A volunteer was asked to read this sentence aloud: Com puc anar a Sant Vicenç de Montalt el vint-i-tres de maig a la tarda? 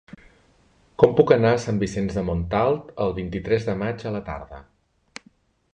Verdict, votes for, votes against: accepted, 3, 0